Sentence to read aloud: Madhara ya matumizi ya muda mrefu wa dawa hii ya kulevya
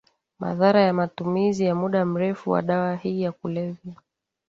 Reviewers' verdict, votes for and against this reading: accepted, 2, 0